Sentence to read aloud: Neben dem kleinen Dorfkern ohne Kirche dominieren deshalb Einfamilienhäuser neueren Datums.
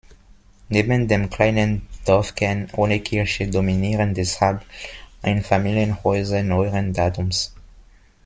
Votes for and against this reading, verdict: 2, 0, accepted